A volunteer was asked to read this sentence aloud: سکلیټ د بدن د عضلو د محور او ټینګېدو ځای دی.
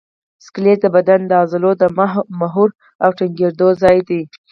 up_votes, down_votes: 2, 4